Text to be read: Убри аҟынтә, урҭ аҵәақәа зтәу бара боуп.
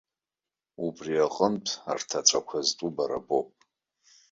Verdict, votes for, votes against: rejected, 1, 2